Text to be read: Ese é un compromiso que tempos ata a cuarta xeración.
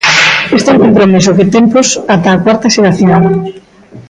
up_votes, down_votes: 0, 2